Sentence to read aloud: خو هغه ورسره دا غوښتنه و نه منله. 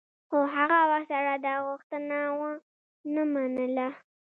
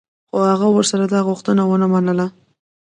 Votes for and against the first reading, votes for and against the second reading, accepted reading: 2, 1, 0, 2, first